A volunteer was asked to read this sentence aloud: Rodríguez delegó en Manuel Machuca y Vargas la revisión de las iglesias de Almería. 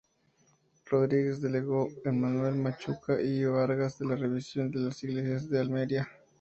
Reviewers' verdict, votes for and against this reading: rejected, 0, 2